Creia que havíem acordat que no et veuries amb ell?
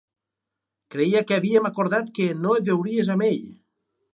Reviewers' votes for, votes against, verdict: 2, 2, rejected